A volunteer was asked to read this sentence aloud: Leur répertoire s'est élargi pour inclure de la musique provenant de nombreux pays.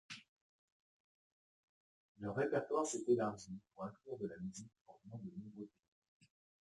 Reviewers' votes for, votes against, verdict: 1, 2, rejected